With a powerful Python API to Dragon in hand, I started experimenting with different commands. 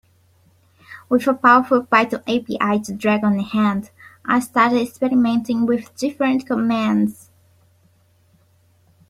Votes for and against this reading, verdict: 0, 2, rejected